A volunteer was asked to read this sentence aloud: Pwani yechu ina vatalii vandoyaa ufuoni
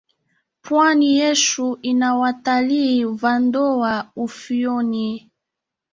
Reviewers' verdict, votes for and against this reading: rejected, 0, 2